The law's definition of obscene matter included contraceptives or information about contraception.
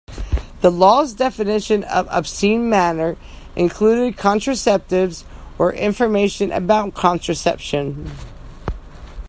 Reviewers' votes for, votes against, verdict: 2, 0, accepted